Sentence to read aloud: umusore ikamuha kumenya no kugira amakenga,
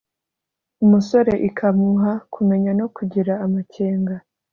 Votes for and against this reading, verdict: 2, 0, accepted